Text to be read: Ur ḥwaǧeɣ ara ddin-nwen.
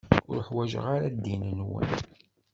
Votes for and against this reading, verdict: 2, 0, accepted